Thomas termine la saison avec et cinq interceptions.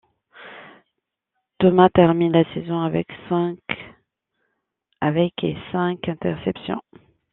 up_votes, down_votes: 0, 2